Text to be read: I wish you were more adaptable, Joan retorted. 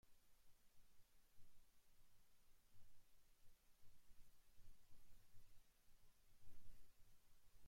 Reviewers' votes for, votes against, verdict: 0, 2, rejected